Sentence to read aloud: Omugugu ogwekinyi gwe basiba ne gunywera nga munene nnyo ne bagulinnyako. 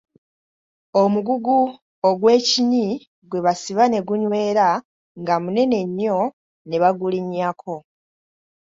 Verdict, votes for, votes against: accepted, 2, 0